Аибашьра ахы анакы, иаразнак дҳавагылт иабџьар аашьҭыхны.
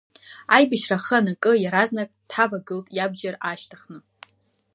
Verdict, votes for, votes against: accepted, 2, 0